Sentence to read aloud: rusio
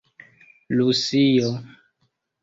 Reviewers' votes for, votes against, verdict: 0, 2, rejected